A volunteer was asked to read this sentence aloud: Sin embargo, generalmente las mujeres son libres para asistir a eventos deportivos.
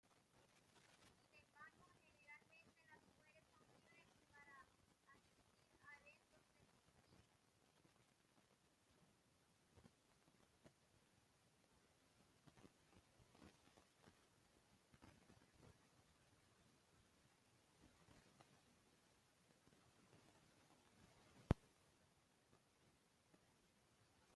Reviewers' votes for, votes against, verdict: 0, 2, rejected